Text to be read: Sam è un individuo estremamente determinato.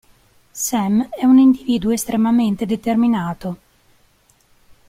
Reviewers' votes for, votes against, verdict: 2, 0, accepted